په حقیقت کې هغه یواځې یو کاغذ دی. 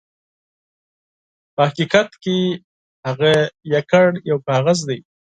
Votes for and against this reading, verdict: 2, 4, rejected